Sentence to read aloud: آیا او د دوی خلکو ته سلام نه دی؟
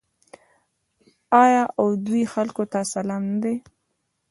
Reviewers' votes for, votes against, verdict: 2, 1, accepted